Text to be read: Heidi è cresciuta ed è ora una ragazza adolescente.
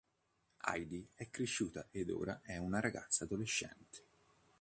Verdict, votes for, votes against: rejected, 1, 2